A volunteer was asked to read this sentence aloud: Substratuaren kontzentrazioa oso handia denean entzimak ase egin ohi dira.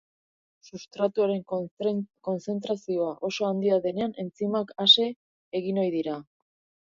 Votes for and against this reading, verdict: 0, 2, rejected